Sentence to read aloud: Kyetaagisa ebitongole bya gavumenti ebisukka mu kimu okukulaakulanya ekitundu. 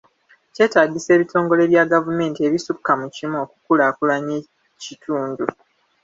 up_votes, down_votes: 2, 0